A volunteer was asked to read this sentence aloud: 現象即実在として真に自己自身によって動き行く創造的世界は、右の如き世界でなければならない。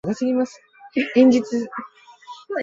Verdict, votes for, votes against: rejected, 0, 2